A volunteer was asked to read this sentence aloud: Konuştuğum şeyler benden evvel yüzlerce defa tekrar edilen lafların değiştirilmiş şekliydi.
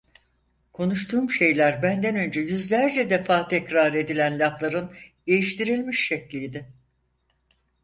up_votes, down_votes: 2, 4